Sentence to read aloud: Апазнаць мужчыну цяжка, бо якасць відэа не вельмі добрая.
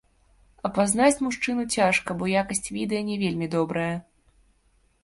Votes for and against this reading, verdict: 0, 2, rejected